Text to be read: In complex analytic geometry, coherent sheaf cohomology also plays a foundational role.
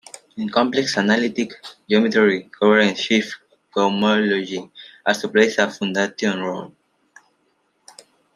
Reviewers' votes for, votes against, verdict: 1, 2, rejected